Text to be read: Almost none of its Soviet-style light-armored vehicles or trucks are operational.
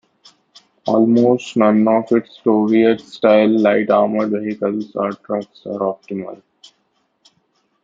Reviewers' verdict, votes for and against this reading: rejected, 0, 2